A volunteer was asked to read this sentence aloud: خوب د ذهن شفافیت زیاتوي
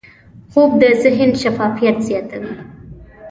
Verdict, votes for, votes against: accepted, 2, 0